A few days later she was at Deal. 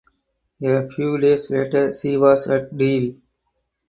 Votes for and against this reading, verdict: 0, 2, rejected